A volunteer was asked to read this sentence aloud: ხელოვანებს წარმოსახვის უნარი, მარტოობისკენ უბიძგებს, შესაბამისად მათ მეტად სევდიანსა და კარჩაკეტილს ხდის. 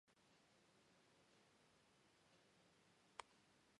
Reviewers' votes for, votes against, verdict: 1, 2, rejected